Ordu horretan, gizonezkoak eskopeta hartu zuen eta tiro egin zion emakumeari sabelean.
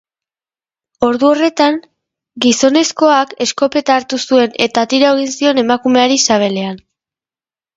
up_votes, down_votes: 2, 0